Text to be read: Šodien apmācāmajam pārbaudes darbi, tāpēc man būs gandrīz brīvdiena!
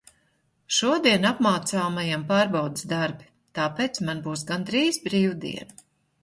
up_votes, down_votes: 2, 0